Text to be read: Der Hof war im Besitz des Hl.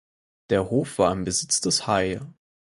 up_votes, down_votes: 2, 4